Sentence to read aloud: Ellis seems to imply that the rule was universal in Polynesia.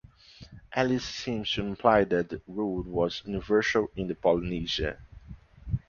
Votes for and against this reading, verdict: 2, 0, accepted